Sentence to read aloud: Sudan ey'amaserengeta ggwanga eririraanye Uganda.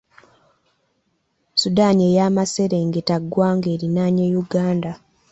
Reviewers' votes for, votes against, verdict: 0, 2, rejected